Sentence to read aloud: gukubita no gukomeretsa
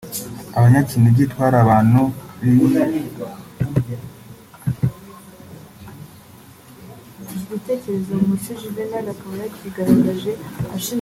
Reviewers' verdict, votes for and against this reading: rejected, 1, 2